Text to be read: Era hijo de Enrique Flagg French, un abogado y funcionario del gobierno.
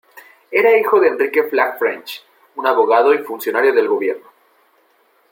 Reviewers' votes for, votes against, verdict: 2, 0, accepted